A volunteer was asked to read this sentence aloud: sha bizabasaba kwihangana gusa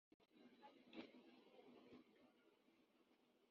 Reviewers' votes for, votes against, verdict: 0, 2, rejected